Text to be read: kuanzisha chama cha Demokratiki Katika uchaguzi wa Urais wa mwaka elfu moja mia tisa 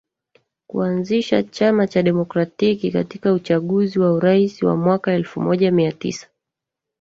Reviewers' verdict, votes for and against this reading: accepted, 2, 1